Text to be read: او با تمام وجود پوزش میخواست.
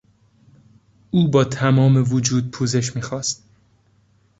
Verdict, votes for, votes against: accepted, 2, 0